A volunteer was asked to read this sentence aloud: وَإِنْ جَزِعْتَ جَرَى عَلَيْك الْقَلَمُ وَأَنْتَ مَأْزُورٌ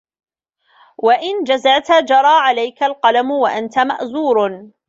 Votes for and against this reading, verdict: 1, 2, rejected